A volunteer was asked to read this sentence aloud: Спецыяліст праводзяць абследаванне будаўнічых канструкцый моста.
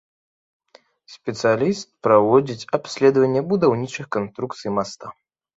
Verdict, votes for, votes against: rejected, 2, 3